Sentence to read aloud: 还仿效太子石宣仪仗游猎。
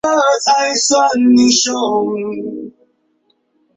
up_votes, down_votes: 0, 6